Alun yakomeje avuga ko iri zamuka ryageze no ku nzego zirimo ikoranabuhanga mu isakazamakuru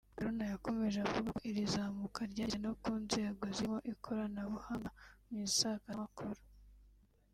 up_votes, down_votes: 2, 3